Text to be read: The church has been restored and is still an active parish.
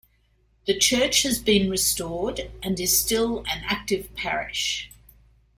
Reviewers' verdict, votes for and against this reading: accepted, 2, 0